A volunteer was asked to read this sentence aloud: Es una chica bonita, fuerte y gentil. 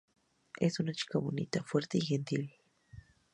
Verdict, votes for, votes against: rejected, 0, 2